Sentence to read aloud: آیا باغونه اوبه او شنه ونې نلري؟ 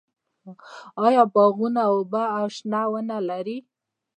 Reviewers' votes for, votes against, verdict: 1, 2, rejected